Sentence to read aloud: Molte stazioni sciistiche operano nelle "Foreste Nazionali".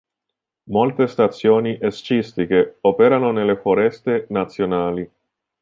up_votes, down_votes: 0, 2